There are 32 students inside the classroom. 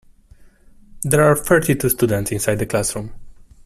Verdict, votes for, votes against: rejected, 0, 2